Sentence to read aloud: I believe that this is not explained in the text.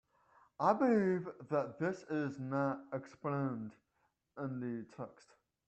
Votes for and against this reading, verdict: 0, 2, rejected